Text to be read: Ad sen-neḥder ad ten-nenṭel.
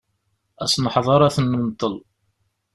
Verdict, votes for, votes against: accepted, 2, 0